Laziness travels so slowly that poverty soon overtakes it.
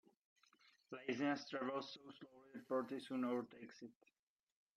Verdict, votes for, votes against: rejected, 0, 2